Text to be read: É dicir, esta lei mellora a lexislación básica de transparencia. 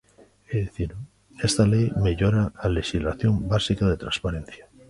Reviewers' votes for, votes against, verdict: 0, 2, rejected